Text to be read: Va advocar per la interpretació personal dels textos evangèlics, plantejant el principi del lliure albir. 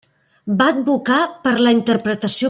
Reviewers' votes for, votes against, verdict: 0, 2, rejected